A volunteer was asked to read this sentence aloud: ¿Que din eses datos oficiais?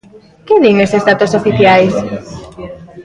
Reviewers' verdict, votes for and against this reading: rejected, 0, 2